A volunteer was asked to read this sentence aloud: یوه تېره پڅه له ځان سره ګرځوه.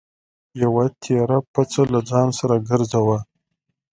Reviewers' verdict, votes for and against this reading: accepted, 2, 0